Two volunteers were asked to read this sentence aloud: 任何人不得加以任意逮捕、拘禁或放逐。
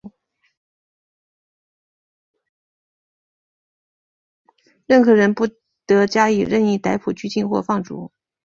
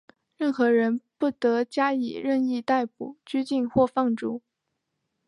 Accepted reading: second